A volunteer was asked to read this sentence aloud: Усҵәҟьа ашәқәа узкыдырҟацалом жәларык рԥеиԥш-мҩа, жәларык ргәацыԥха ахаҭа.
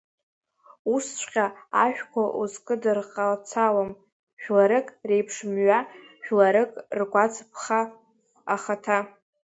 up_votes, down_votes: 0, 2